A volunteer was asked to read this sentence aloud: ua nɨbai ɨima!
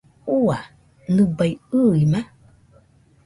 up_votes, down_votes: 0, 2